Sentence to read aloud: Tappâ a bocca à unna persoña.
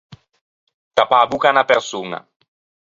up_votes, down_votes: 4, 0